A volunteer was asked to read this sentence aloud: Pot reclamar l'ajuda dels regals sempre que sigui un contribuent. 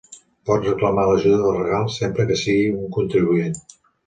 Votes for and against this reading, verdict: 0, 2, rejected